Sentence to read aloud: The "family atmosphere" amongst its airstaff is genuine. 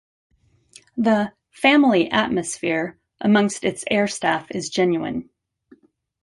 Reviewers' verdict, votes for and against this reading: accepted, 2, 0